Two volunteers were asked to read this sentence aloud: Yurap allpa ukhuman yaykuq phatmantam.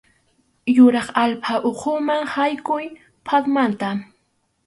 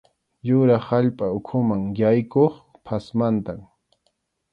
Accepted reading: second